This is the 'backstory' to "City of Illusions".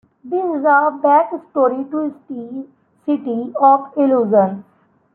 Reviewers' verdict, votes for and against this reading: rejected, 1, 3